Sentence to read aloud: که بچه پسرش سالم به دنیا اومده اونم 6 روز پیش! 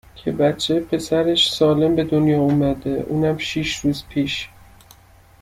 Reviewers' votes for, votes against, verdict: 0, 2, rejected